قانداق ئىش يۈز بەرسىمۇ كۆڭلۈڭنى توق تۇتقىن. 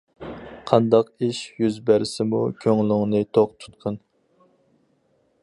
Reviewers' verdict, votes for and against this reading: accepted, 4, 0